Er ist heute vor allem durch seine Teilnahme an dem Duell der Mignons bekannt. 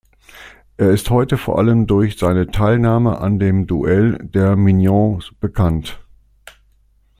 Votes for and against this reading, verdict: 2, 0, accepted